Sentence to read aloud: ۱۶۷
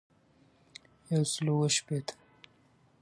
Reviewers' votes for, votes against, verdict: 0, 2, rejected